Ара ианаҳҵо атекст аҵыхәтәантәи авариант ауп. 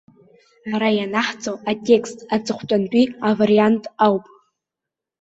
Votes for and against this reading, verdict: 2, 0, accepted